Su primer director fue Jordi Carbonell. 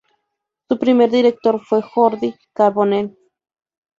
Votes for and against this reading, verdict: 2, 2, rejected